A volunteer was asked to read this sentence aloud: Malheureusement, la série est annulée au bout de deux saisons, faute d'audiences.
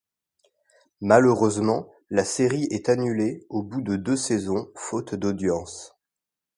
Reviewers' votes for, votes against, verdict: 2, 0, accepted